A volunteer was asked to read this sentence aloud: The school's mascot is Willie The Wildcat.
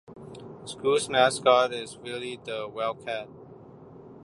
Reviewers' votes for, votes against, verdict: 1, 2, rejected